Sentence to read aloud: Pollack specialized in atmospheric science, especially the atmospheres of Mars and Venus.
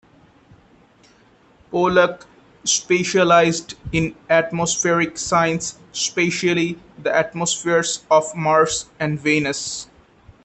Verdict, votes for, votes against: rejected, 0, 2